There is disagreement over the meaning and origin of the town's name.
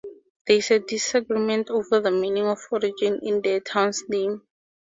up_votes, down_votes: 2, 0